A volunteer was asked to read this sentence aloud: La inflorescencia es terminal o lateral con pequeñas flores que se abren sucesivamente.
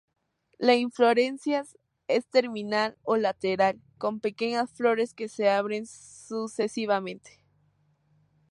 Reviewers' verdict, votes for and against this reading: rejected, 2, 2